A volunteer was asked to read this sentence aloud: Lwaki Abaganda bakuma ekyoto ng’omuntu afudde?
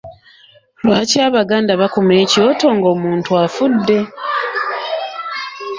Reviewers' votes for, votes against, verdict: 0, 2, rejected